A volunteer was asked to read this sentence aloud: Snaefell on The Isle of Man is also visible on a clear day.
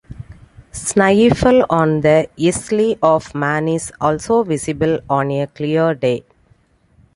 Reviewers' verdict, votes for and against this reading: accepted, 2, 0